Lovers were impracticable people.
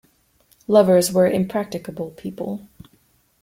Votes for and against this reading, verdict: 2, 0, accepted